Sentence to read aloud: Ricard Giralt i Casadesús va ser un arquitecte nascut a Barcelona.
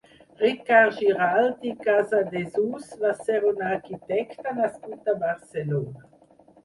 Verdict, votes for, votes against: rejected, 2, 4